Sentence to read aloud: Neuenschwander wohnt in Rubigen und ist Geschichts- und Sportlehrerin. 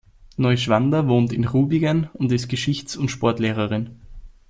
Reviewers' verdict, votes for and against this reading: rejected, 0, 2